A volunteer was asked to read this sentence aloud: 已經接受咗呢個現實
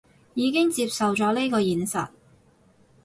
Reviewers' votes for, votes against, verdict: 4, 0, accepted